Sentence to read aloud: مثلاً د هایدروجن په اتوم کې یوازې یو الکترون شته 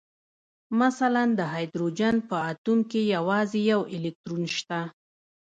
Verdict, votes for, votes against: rejected, 0, 2